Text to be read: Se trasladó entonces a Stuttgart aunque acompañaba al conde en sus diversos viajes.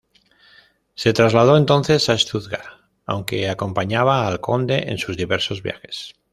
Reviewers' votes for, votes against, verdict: 2, 0, accepted